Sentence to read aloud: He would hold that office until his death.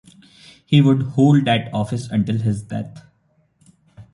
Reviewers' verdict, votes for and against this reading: accepted, 2, 0